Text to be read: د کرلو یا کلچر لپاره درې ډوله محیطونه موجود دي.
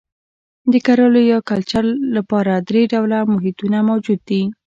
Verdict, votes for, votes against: rejected, 1, 2